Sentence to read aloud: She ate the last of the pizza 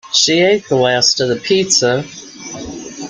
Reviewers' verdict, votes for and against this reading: accepted, 2, 0